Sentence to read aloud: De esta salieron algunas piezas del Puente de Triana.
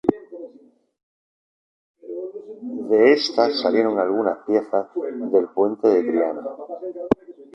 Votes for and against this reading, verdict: 0, 2, rejected